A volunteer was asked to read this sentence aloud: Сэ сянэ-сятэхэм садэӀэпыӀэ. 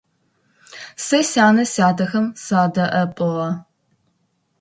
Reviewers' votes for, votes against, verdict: 1, 2, rejected